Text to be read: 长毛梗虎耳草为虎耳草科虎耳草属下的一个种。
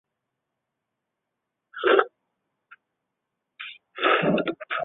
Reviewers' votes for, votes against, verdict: 1, 3, rejected